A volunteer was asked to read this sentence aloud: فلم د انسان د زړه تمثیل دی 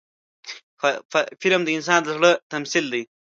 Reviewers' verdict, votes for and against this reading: rejected, 1, 2